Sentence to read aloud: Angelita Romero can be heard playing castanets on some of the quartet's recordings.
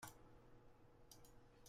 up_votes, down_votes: 0, 2